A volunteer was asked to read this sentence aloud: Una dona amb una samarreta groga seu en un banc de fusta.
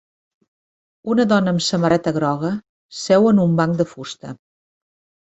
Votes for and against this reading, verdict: 1, 2, rejected